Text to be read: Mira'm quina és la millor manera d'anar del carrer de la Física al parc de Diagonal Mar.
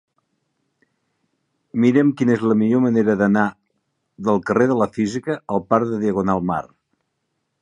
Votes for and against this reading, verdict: 2, 0, accepted